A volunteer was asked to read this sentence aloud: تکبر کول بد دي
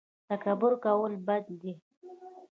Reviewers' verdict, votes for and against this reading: rejected, 0, 2